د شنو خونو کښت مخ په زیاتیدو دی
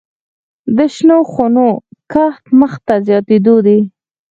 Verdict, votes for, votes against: accepted, 4, 0